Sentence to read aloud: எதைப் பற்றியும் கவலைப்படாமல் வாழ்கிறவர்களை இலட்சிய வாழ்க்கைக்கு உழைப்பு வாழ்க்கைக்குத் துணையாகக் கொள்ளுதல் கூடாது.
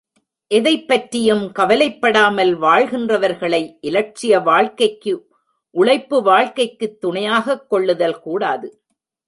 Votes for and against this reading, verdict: 1, 2, rejected